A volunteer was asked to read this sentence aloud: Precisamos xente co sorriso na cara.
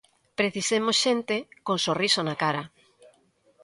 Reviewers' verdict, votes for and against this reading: rejected, 0, 2